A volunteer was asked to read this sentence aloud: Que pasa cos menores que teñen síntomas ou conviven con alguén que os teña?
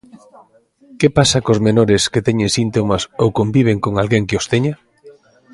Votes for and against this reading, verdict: 2, 0, accepted